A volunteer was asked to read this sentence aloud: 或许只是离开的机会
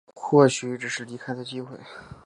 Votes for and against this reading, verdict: 2, 0, accepted